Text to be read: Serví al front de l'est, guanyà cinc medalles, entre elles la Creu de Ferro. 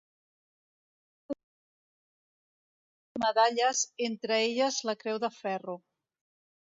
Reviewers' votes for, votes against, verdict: 0, 2, rejected